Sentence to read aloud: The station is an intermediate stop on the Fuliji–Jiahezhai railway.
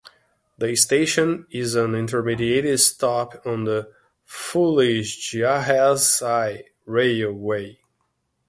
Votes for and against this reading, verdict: 0, 2, rejected